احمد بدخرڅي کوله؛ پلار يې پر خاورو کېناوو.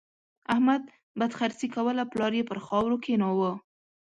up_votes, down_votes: 2, 0